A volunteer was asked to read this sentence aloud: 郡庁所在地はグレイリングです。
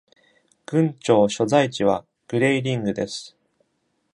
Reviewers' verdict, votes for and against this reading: accepted, 2, 0